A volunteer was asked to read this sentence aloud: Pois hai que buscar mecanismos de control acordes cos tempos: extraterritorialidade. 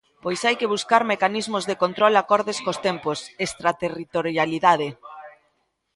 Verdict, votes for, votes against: rejected, 0, 2